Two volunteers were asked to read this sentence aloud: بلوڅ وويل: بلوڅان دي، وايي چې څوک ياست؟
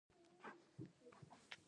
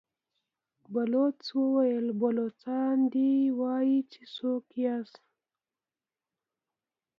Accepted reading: second